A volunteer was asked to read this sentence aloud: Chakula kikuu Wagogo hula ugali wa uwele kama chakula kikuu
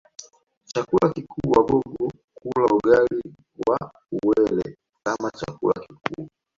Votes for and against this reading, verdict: 1, 2, rejected